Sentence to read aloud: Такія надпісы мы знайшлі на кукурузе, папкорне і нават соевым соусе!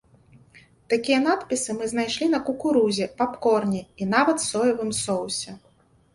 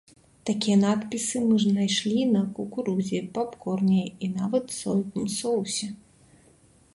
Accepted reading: first